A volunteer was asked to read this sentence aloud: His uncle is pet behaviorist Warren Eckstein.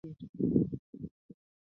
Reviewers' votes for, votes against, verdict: 0, 2, rejected